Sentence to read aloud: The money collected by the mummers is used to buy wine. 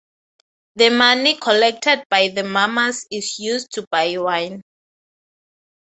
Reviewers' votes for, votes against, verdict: 6, 0, accepted